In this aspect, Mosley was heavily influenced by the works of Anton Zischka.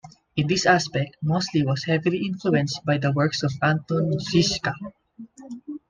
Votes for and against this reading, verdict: 2, 0, accepted